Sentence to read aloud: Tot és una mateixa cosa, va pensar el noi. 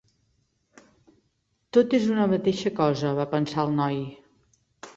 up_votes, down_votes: 3, 0